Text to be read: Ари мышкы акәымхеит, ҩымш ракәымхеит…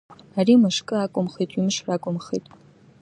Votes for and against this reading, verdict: 2, 0, accepted